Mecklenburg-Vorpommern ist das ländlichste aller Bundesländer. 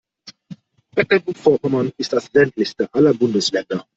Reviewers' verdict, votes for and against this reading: rejected, 1, 2